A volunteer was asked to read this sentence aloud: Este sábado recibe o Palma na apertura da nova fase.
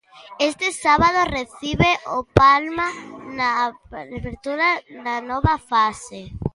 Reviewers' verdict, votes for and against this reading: rejected, 0, 2